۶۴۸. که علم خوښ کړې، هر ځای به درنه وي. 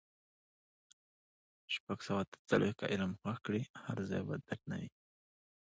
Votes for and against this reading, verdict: 0, 2, rejected